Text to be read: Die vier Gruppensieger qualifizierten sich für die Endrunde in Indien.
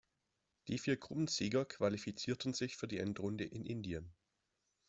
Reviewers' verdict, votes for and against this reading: accepted, 2, 0